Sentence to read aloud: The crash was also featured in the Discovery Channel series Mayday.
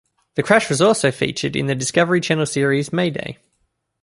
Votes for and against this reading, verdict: 2, 0, accepted